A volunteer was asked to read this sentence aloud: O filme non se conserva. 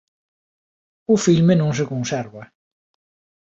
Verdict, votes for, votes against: accepted, 2, 0